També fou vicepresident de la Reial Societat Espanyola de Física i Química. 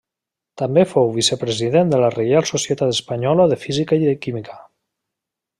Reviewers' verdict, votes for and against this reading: rejected, 1, 2